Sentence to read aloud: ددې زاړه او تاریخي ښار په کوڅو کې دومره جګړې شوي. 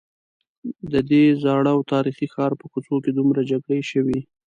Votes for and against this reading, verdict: 2, 0, accepted